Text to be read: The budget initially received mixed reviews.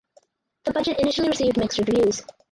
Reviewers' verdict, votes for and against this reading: rejected, 0, 2